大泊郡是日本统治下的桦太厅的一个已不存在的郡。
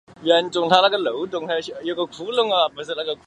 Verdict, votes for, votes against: rejected, 0, 3